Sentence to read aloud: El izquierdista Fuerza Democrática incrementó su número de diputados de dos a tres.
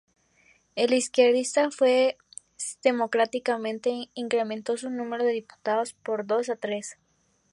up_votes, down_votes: 2, 2